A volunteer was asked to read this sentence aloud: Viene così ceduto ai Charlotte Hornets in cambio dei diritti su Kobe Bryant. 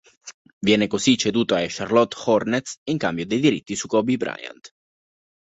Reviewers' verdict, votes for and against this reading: accepted, 2, 0